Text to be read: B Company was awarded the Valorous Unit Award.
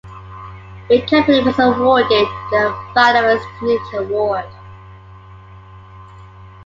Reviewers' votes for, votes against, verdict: 0, 2, rejected